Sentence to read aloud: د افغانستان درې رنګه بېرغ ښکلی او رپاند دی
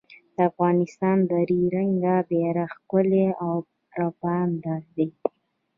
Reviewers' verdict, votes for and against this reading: rejected, 1, 2